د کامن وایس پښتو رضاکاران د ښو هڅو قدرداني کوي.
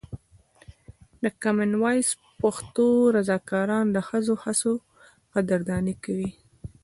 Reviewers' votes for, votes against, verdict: 0, 2, rejected